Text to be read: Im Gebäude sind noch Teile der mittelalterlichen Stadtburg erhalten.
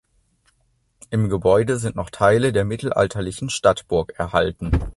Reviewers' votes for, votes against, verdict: 2, 0, accepted